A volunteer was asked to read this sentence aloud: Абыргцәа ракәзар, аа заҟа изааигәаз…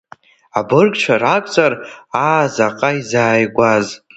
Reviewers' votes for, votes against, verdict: 1, 2, rejected